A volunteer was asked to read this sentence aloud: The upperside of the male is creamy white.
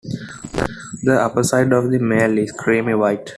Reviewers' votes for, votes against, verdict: 2, 1, accepted